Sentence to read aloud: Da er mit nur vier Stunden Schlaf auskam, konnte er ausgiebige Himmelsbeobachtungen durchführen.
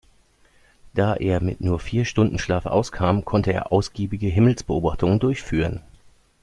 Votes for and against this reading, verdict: 2, 0, accepted